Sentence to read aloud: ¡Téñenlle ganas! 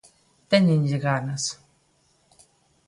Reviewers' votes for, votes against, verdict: 2, 0, accepted